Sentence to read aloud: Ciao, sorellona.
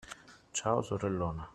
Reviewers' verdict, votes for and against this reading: accepted, 2, 0